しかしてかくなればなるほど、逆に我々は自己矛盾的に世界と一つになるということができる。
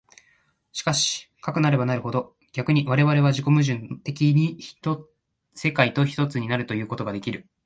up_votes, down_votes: 1, 2